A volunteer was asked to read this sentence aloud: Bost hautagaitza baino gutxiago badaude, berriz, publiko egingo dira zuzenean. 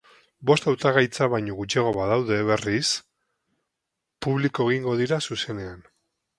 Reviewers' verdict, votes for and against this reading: accepted, 4, 0